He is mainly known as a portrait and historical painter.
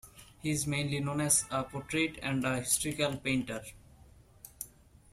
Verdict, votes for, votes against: rejected, 1, 2